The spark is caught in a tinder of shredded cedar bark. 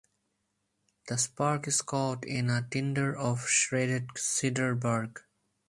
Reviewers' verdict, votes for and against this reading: accepted, 4, 0